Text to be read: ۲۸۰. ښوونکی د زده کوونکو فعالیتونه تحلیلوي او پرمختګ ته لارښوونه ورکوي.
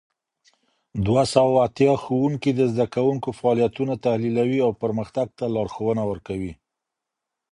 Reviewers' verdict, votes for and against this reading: rejected, 0, 2